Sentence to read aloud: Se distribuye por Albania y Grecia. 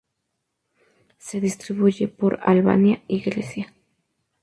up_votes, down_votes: 2, 0